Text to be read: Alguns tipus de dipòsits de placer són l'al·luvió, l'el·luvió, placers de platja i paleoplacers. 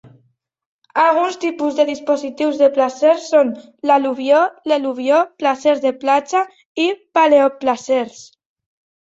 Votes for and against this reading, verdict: 1, 2, rejected